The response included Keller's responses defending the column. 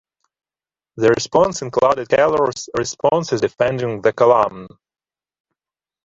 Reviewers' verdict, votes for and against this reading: rejected, 1, 2